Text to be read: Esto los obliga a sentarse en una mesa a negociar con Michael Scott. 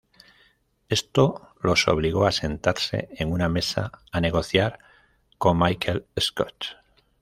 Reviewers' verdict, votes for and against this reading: rejected, 0, 2